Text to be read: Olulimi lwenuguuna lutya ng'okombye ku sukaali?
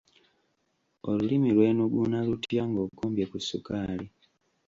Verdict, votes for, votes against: rejected, 1, 2